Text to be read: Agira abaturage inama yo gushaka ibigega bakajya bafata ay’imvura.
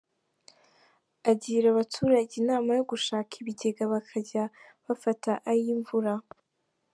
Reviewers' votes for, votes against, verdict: 3, 0, accepted